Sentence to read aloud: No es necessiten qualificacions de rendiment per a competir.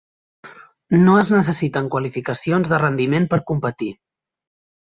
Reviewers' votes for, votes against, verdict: 0, 2, rejected